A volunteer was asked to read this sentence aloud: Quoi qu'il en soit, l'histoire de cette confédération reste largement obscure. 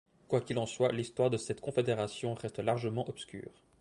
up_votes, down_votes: 2, 0